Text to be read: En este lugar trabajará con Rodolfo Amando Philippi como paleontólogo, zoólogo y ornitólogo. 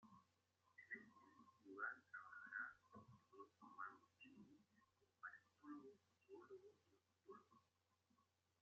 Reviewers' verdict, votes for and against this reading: rejected, 0, 2